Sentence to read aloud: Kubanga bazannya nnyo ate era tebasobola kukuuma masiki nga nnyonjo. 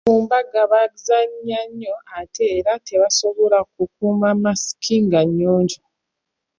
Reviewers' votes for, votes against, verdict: 2, 1, accepted